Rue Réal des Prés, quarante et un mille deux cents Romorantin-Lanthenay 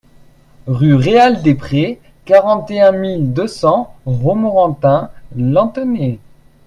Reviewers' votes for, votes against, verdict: 2, 0, accepted